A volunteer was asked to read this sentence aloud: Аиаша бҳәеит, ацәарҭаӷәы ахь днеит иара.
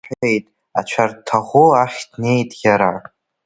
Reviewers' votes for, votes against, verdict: 0, 2, rejected